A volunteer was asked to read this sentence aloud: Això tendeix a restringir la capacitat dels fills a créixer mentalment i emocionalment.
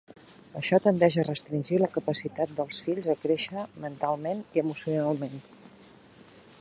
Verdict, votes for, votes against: accepted, 3, 0